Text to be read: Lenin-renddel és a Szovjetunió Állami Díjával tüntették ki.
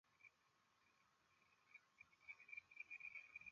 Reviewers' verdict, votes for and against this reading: rejected, 0, 2